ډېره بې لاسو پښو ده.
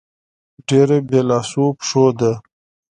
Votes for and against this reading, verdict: 2, 0, accepted